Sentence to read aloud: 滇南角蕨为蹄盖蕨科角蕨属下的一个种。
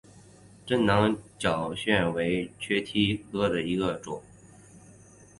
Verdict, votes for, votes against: accepted, 2, 1